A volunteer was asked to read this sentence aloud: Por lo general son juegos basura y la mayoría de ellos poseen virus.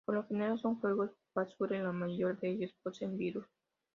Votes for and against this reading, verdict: 2, 1, accepted